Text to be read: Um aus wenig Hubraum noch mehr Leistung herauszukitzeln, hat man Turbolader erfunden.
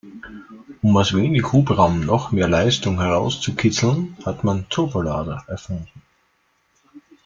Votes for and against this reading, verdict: 1, 2, rejected